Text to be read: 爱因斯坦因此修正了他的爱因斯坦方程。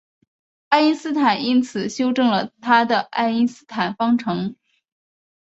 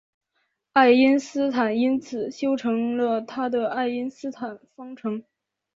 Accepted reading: first